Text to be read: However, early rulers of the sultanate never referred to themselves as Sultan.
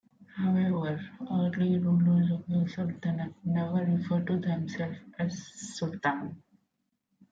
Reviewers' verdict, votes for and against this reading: rejected, 0, 2